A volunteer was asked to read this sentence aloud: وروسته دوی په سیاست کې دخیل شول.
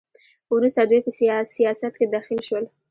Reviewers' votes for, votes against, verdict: 0, 2, rejected